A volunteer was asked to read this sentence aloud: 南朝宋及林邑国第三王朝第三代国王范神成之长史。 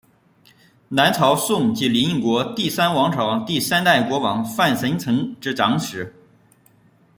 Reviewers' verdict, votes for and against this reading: rejected, 0, 2